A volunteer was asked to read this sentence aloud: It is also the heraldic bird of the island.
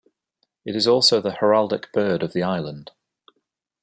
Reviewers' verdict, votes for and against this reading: accepted, 2, 0